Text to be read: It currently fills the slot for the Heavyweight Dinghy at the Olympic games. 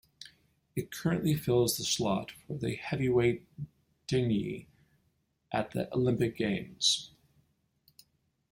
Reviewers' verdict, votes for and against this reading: accepted, 5, 1